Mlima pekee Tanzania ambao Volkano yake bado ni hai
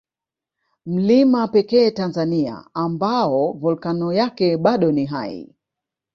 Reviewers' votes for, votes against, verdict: 3, 0, accepted